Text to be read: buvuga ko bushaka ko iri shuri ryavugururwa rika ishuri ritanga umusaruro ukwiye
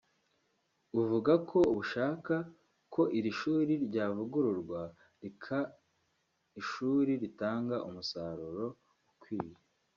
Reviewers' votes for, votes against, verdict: 1, 2, rejected